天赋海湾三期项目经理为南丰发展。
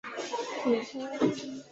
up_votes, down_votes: 0, 4